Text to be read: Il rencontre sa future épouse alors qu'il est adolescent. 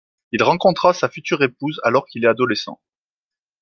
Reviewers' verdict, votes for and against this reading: rejected, 1, 2